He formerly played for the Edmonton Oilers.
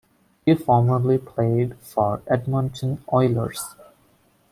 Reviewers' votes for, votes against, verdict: 1, 2, rejected